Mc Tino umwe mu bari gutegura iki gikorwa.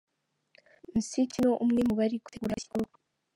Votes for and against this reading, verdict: 0, 2, rejected